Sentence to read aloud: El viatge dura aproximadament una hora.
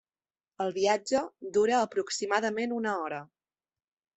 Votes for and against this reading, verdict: 3, 0, accepted